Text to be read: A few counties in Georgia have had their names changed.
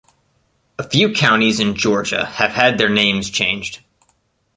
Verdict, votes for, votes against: accepted, 3, 0